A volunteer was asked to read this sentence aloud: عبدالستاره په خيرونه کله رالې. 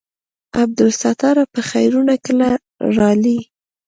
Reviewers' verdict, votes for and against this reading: accepted, 2, 0